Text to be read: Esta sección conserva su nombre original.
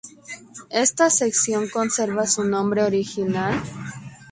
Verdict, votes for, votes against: accepted, 2, 0